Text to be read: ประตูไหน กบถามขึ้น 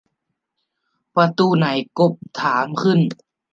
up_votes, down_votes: 2, 0